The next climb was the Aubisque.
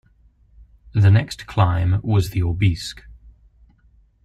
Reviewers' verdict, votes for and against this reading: accepted, 3, 0